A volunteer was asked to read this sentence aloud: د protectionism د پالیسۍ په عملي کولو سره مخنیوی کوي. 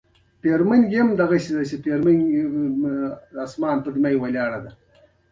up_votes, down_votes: 1, 2